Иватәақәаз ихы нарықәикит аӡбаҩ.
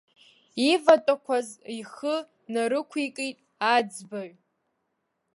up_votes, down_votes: 2, 0